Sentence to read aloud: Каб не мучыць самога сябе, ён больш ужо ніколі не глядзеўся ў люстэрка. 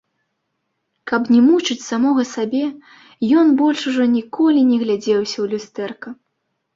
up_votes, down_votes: 2, 1